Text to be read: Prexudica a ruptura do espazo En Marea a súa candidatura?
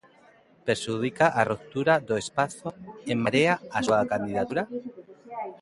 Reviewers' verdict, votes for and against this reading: rejected, 1, 2